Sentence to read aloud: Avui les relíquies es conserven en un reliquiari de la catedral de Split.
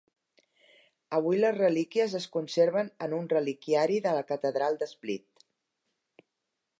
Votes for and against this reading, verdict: 4, 0, accepted